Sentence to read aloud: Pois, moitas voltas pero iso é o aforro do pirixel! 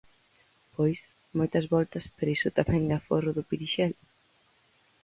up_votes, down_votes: 0, 4